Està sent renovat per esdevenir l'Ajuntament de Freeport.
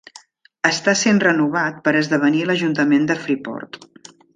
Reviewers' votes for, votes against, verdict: 3, 0, accepted